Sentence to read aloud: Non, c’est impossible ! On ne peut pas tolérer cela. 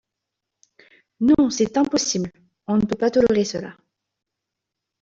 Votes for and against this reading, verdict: 2, 1, accepted